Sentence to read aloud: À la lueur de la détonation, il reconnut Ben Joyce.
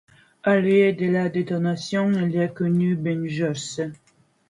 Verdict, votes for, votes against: accepted, 2, 1